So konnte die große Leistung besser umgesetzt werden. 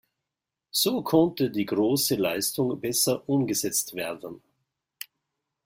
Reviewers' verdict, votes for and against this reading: accepted, 2, 0